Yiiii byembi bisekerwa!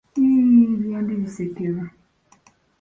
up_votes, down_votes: 2, 0